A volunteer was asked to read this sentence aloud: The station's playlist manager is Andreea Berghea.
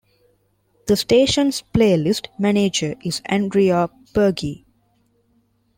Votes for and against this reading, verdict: 0, 2, rejected